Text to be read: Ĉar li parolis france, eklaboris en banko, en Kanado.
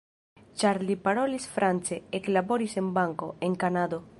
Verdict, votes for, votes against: accepted, 2, 0